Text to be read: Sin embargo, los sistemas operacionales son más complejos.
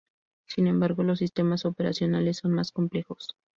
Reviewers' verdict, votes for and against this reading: accepted, 2, 0